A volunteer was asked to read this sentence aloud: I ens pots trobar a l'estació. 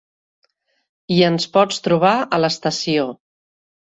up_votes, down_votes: 3, 0